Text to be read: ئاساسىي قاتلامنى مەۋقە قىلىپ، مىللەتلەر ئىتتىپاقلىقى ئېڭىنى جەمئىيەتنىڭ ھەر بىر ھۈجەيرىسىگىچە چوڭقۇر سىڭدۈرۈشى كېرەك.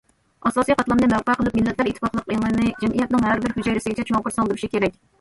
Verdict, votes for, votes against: rejected, 1, 2